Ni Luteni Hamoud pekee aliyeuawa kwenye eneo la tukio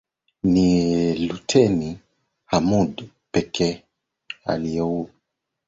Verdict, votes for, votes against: rejected, 0, 2